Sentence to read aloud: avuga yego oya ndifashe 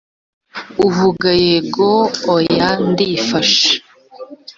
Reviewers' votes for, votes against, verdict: 1, 2, rejected